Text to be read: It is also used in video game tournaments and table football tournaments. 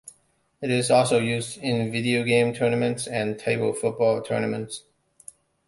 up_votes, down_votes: 2, 0